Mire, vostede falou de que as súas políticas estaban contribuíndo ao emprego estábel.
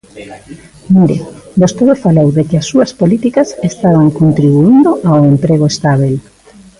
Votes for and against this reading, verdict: 1, 2, rejected